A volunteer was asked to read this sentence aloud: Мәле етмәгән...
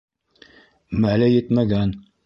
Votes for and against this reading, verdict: 1, 2, rejected